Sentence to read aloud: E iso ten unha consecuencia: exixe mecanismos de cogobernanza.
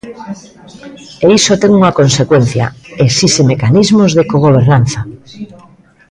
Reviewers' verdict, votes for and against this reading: rejected, 0, 2